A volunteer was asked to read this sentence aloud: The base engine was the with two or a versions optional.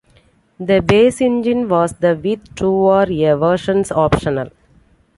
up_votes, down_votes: 1, 2